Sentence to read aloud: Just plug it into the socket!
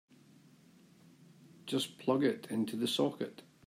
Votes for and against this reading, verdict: 2, 0, accepted